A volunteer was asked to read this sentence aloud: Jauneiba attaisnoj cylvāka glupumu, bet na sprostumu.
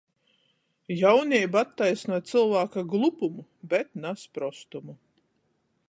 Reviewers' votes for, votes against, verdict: 14, 0, accepted